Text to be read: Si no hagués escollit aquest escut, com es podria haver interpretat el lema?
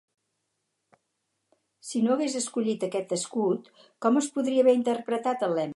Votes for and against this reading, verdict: 2, 2, rejected